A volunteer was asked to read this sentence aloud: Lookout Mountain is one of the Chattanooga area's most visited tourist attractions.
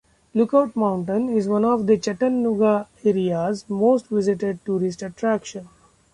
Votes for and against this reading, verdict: 0, 2, rejected